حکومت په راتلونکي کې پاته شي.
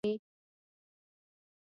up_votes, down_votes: 1, 2